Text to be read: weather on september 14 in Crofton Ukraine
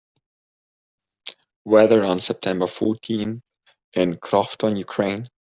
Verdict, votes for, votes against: rejected, 0, 2